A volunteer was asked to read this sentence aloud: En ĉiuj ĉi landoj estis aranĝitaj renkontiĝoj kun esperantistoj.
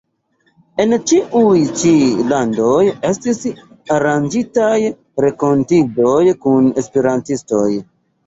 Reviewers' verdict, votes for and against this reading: rejected, 0, 2